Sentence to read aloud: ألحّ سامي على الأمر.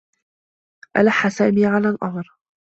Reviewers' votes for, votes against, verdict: 2, 0, accepted